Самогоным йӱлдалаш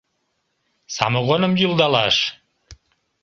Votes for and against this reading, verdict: 2, 0, accepted